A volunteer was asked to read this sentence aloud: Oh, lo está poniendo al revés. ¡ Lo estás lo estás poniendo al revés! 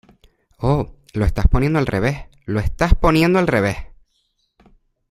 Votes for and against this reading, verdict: 2, 0, accepted